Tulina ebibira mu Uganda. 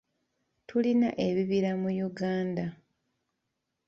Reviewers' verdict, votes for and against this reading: rejected, 1, 2